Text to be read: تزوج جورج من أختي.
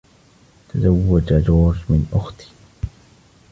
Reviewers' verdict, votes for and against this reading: rejected, 1, 2